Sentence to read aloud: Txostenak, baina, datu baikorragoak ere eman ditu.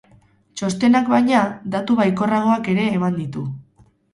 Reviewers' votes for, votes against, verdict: 4, 0, accepted